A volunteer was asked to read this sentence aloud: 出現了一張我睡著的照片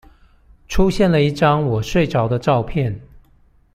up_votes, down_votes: 2, 0